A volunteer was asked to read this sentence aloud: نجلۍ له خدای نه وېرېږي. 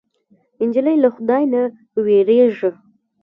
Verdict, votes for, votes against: rejected, 1, 2